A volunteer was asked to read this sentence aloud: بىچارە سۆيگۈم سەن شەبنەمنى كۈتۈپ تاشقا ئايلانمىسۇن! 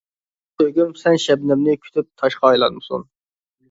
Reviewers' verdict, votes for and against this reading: rejected, 0, 2